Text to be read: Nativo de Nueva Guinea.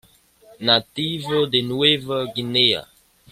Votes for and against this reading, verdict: 2, 1, accepted